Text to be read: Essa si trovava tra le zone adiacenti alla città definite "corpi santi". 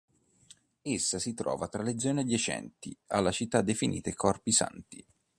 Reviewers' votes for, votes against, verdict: 1, 2, rejected